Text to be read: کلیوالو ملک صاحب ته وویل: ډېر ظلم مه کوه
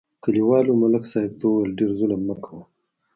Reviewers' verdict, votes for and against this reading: rejected, 1, 2